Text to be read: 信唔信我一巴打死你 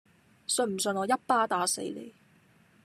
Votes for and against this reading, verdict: 2, 0, accepted